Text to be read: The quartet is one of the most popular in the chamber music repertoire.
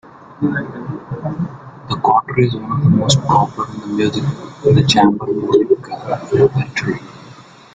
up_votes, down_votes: 0, 2